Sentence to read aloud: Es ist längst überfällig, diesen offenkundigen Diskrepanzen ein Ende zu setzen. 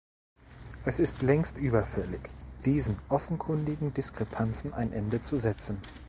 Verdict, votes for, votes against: accepted, 2, 0